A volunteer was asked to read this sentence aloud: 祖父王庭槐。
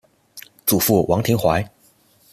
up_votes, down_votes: 2, 0